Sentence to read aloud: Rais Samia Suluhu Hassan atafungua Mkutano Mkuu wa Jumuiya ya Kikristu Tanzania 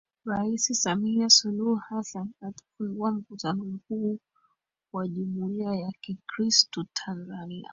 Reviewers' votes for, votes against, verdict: 0, 2, rejected